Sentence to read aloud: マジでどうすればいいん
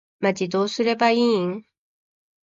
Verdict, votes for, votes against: rejected, 0, 2